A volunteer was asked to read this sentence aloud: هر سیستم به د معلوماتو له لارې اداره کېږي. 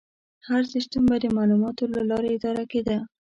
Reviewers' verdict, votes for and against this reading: rejected, 0, 2